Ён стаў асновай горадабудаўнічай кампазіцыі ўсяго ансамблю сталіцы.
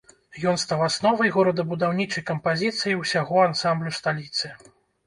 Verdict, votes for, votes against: accepted, 2, 0